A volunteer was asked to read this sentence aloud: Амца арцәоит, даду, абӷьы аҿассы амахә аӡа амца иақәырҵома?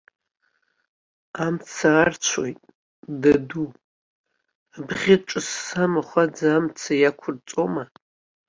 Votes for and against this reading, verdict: 0, 2, rejected